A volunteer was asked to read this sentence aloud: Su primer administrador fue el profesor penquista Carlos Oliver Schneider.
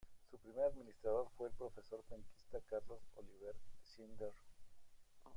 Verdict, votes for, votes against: rejected, 0, 2